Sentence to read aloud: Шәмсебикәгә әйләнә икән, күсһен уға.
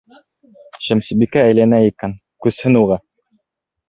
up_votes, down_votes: 1, 2